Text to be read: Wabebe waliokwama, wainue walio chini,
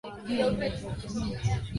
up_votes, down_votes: 0, 2